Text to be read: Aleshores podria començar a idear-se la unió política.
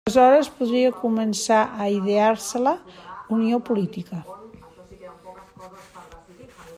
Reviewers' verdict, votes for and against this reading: rejected, 0, 2